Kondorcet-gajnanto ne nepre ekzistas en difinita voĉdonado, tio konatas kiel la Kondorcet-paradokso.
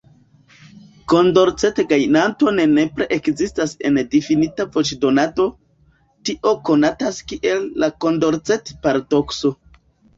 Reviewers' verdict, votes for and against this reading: rejected, 1, 2